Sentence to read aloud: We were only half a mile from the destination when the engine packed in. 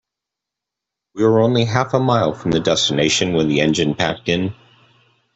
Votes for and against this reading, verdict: 2, 0, accepted